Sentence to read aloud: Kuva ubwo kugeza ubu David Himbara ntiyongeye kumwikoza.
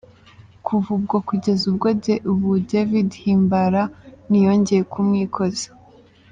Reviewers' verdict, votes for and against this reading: accepted, 2, 1